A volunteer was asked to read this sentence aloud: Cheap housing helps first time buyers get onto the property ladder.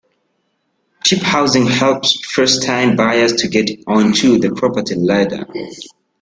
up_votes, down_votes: 1, 2